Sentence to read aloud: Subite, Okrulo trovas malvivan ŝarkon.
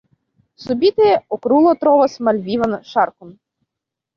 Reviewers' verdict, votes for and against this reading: rejected, 0, 2